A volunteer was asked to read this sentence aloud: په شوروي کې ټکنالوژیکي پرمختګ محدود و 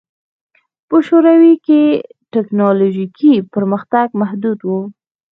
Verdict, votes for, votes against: accepted, 2, 0